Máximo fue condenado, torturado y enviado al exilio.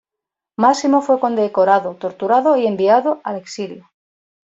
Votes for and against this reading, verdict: 0, 2, rejected